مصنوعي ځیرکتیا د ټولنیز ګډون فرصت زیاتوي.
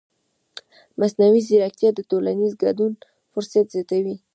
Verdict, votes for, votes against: rejected, 1, 2